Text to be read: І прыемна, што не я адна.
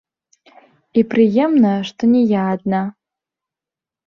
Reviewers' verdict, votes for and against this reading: rejected, 1, 2